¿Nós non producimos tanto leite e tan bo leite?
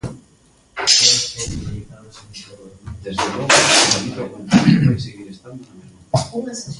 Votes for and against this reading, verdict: 0, 2, rejected